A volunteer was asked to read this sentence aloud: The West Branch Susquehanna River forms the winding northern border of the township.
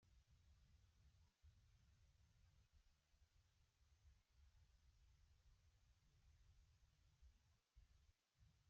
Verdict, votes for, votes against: rejected, 0, 2